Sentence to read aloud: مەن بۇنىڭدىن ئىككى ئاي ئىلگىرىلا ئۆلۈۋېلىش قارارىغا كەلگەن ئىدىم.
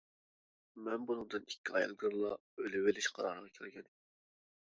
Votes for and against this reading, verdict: 0, 2, rejected